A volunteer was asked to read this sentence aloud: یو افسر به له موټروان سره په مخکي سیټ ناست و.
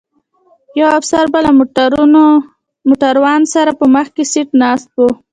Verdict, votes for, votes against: accepted, 2, 1